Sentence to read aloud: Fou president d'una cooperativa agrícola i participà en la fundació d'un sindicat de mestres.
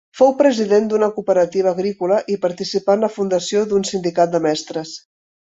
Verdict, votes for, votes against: accepted, 2, 0